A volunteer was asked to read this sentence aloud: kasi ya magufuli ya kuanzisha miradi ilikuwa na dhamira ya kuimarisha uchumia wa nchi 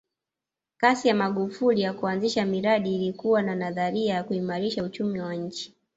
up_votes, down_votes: 1, 2